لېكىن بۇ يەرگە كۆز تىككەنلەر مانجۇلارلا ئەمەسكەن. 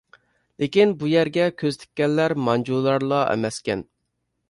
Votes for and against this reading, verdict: 2, 0, accepted